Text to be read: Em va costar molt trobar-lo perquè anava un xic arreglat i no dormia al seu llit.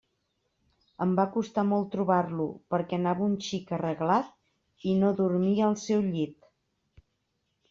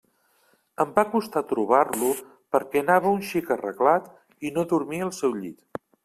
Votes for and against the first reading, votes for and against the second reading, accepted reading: 3, 0, 0, 2, first